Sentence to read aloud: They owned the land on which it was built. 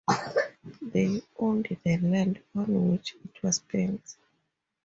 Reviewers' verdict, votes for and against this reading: accepted, 4, 0